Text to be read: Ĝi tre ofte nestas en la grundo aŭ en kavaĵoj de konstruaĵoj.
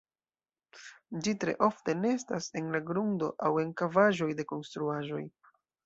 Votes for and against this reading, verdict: 2, 0, accepted